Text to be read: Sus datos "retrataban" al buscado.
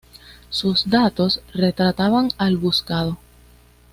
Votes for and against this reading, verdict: 2, 0, accepted